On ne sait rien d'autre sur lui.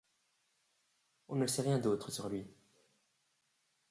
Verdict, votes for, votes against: rejected, 1, 2